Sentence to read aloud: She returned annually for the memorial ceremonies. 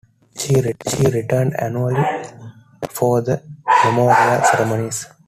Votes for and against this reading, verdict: 2, 1, accepted